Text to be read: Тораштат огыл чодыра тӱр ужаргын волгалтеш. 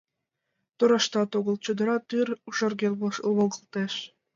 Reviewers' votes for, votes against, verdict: 1, 6, rejected